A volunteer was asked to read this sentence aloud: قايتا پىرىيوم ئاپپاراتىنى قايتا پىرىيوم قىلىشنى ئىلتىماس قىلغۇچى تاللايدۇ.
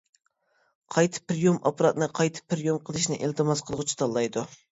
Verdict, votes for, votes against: rejected, 1, 2